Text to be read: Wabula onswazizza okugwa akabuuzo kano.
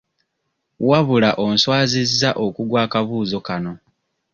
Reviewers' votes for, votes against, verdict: 2, 0, accepted